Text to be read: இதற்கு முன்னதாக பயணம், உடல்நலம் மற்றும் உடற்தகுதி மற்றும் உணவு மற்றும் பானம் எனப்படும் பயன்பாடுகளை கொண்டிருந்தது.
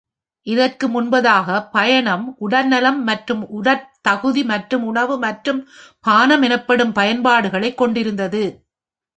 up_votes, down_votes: 2, 3